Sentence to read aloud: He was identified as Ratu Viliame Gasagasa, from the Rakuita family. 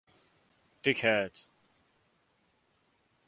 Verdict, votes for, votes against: rejected, 1, 2